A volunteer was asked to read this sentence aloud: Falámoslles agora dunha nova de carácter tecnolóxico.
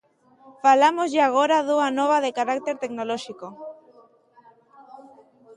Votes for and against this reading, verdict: 0, 2, rejected